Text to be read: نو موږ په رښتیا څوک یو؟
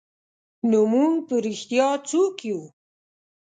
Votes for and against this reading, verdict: 2, 0, accepted